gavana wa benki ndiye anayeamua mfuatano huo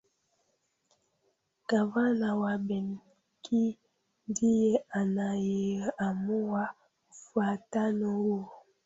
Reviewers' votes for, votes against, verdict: 0, 2, rejected